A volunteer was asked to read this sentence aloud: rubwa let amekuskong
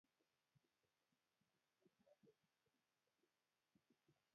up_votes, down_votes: 0, 2